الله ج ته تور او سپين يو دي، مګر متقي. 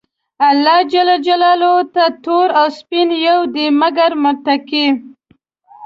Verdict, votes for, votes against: accepted, 2, 0